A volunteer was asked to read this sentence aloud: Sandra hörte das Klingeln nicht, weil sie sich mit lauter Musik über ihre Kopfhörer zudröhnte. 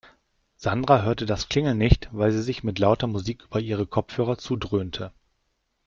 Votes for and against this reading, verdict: 1, 2, rejected